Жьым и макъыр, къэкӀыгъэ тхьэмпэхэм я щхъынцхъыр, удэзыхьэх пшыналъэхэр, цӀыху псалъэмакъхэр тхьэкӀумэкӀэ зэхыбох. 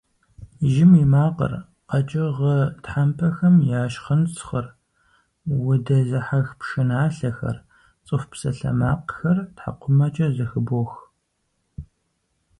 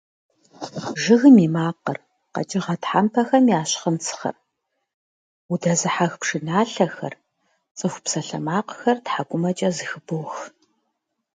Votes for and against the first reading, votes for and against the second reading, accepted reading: 6, 0, 1, 2, first